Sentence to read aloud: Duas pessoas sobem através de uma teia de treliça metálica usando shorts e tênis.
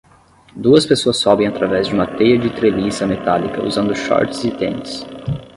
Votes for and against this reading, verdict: 5, 10, rejected